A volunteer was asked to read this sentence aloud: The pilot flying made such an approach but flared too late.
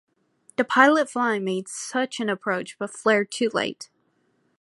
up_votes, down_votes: 2, 0